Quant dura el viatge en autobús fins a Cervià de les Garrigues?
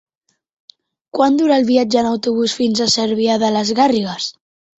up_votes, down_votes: 0, 2